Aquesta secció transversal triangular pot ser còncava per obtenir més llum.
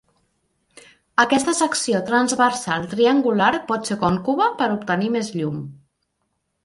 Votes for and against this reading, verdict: 0, 3, rejected